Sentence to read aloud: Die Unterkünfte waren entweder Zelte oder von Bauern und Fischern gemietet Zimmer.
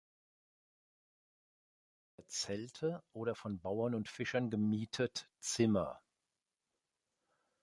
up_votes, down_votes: 0, 4